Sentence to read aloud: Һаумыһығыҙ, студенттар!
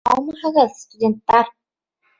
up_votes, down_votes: 1, 2